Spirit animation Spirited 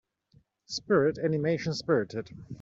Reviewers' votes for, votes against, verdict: 2, 0, accepted